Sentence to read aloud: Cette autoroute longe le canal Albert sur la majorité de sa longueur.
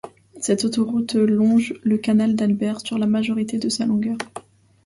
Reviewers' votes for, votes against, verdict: 0, 2, rejected